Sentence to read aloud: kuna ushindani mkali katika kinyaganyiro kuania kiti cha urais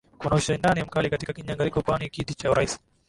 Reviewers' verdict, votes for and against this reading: accepted, 2, 0